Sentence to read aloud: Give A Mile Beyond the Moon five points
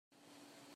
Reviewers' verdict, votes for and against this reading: rejected, 0, 2